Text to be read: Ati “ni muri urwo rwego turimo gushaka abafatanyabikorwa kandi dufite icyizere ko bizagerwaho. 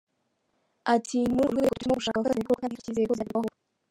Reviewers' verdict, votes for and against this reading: rejected, 0, 2